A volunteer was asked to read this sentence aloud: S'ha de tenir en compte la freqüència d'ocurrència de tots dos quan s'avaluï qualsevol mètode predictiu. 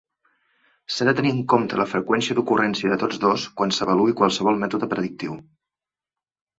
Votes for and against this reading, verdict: 2, 0, accepted